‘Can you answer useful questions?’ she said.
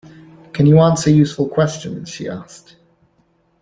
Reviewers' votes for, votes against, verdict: 1, 2, rejected